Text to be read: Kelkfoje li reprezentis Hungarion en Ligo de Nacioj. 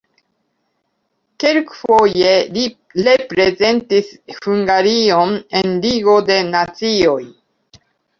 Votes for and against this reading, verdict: 1, 2, rejected